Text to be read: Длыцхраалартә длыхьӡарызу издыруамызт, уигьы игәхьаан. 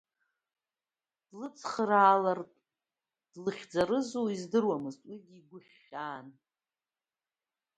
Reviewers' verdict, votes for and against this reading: accepted, 2, 1